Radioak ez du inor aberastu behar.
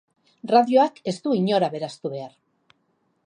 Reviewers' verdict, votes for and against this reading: accepted, 6, 0